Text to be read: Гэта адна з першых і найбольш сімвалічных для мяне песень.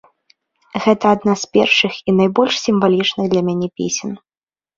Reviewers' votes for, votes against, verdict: 1, 2, rejected